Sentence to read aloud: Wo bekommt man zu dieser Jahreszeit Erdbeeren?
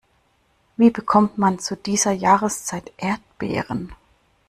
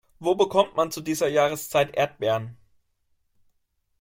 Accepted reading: second